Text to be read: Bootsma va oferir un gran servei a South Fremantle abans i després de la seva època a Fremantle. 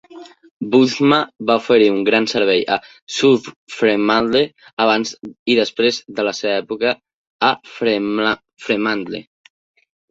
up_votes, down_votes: 0, 2